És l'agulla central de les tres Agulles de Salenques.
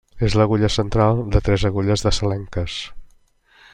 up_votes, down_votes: 0, 2